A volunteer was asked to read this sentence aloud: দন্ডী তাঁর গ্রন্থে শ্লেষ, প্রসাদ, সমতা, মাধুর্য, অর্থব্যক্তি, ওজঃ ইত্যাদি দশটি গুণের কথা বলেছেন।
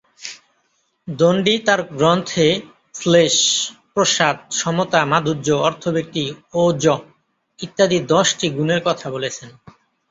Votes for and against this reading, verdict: 2, 0, accepted